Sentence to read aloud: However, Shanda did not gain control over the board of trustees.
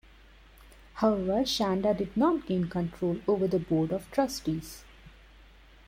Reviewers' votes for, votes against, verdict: 2, 0, accepted